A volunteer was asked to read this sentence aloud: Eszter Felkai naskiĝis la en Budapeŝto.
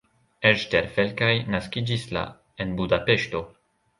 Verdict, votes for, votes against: accepted, 2, 1